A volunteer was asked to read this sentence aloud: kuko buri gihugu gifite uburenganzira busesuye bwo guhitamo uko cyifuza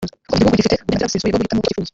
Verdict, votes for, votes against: rejected, 0, 2